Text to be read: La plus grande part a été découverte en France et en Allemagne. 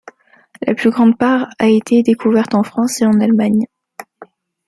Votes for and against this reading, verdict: 2, 1, accepted